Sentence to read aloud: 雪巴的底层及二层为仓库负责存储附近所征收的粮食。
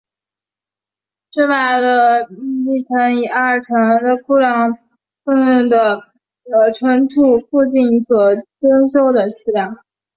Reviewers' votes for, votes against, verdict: 4, 2, accepted